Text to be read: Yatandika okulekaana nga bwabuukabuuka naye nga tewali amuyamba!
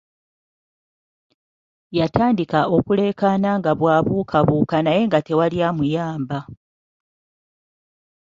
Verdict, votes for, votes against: accepted, 2, 0